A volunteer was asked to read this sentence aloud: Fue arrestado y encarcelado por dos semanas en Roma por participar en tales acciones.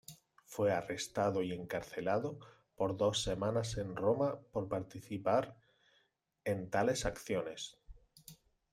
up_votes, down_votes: 2, 0